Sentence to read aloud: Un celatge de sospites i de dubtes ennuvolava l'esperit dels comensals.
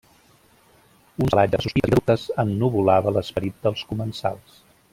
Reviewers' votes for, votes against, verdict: 0, 2, rejected